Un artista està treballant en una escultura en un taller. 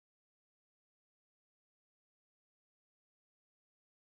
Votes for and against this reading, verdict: 0, 2, rejected